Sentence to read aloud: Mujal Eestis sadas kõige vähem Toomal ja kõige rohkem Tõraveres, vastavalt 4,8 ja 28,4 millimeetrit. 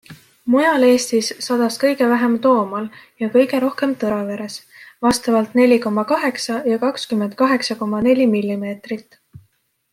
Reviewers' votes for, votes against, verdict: 0, 2, rejected